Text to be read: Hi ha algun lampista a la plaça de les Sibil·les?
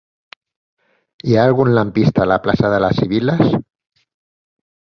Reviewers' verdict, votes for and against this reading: accepted, 8, 0